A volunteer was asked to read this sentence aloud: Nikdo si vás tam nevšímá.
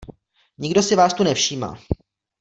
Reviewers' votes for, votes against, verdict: 0, 2, rejected